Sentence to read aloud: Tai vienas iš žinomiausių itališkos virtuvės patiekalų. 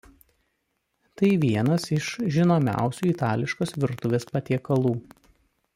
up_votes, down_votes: 2, 0